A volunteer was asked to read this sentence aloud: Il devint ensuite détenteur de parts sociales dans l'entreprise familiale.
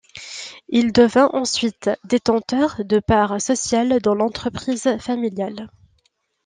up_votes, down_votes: 3, 0